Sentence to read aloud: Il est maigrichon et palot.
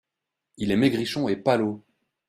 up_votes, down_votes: 3, 0